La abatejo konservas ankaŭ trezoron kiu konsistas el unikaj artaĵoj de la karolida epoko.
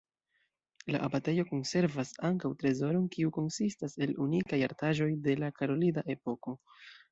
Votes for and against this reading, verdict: 2, 1, accepted